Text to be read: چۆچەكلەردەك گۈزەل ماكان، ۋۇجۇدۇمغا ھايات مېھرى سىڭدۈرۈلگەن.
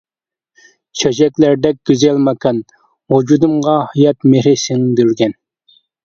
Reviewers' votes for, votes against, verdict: 0, 2, rejected